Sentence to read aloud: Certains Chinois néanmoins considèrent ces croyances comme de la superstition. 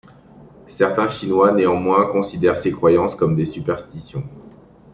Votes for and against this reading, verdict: 1, 2, rejected